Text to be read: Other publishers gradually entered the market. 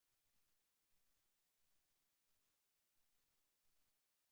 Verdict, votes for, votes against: rejected, 0, 2